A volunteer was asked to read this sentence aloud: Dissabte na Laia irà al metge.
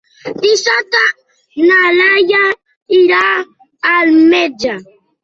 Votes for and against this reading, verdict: 0, 2, rejected